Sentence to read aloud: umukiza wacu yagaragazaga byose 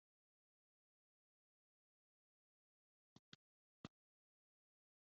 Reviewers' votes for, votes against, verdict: 1, 2, rejected